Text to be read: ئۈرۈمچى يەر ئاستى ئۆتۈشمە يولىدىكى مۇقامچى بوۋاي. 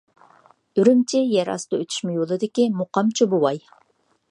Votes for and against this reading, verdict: 3, 0, accepted